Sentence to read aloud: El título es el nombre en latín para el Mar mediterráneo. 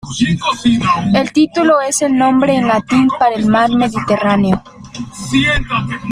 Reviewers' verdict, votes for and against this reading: accepted, 2, 0